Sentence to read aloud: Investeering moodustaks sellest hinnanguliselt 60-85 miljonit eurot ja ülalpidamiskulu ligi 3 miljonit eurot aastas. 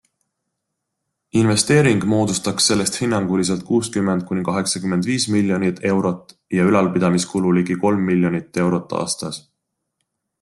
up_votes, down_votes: 0, 2